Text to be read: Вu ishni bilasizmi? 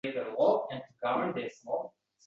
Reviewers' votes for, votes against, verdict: 0, 2, rejected